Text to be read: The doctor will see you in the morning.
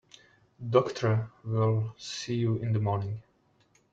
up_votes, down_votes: 0, 2